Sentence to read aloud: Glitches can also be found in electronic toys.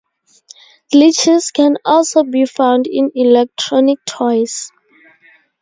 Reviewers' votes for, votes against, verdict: 2, 0, accepted